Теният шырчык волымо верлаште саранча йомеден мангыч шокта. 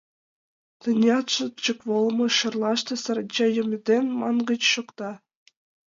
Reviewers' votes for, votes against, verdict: 0, 2, rejected